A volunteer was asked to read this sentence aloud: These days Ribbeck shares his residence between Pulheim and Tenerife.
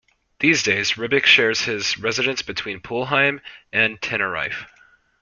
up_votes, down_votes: 1, 2